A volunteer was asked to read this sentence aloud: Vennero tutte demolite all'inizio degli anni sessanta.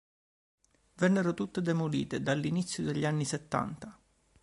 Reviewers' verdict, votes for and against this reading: rejected, 1, 2